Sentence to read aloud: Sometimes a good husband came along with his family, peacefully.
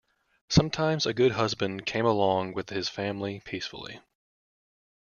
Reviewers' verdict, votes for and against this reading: accepted, 2, 0